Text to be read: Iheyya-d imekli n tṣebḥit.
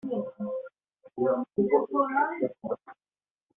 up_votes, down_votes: 0, 2